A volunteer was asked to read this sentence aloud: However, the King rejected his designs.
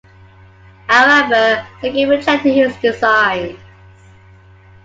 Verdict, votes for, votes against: rejected, 1, 2